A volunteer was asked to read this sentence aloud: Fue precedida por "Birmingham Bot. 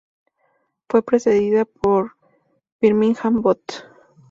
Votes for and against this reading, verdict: 0, 2, rejected